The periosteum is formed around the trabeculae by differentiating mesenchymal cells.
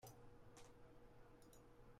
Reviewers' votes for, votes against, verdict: 0, 2, rejected